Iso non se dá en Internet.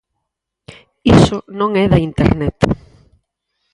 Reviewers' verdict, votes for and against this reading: rejected, 0, 4